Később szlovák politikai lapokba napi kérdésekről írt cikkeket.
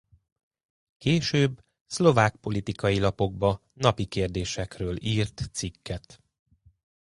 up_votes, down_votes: 0, 2